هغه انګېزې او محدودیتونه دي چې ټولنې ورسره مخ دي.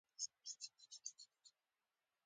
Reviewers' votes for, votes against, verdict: 1, 2, rejected